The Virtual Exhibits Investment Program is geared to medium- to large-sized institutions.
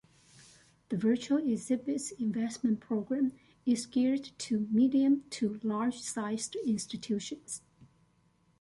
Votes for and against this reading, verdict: 2, 0, accepted